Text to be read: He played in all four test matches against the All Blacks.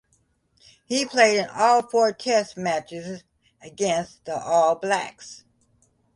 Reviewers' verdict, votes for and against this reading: accepted, 2, 0